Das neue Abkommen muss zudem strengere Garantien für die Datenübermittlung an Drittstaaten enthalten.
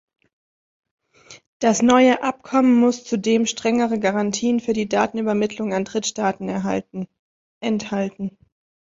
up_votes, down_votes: 0, 2